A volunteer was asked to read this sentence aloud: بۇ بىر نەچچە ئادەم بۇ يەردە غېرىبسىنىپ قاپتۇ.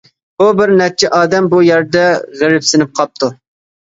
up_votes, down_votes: 2, 0